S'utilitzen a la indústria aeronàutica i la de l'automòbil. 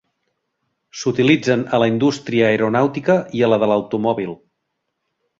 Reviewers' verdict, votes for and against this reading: rejected, 1, 2